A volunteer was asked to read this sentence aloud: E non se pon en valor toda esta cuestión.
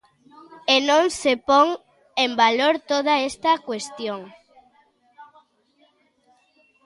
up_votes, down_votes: 2, 0